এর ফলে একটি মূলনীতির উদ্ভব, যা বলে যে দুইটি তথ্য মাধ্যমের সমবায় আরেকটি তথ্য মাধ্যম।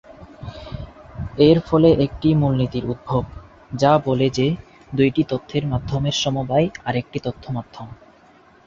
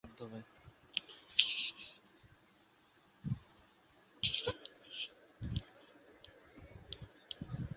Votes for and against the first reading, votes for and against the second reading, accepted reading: 14, 4, 0, 2, first